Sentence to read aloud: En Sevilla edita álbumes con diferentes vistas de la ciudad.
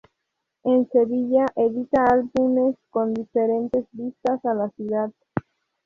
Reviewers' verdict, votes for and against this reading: rejected, 0, 2